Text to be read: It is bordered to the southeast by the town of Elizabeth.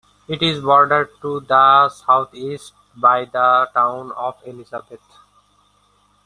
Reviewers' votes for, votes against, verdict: 0, 2, rejected